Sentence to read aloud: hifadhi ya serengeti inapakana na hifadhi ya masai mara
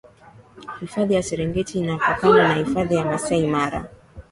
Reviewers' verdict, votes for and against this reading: accepted, 6, 1